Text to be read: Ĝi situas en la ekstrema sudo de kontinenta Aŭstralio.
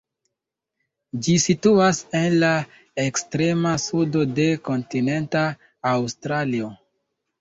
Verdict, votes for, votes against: accepted, 2, 1